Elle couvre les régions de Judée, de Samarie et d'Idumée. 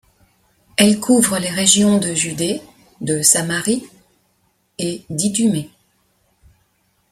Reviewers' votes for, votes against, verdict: 2, 0, accepted